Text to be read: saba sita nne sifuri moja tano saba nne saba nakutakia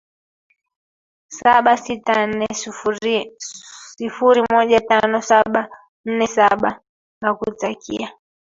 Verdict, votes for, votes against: accepted, 2, 1